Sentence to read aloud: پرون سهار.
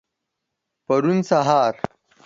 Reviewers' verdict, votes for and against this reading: accepted, 4, 0